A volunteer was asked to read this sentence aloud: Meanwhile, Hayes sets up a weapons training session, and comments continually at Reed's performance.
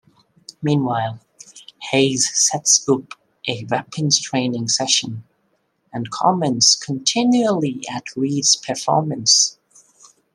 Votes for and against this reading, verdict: 2, 0, accepted